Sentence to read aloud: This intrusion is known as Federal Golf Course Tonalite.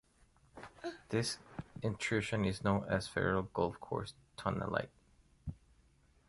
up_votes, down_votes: 1, 2